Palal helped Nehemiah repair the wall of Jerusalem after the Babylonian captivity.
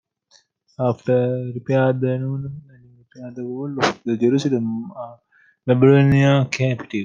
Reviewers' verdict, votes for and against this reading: rejected, 0, 2